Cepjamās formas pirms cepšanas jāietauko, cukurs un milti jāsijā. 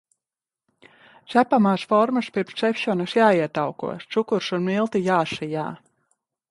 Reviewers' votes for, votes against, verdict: 0, 2, rejected